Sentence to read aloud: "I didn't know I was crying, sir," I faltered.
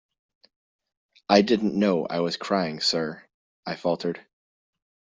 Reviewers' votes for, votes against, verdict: 2, 0, accepted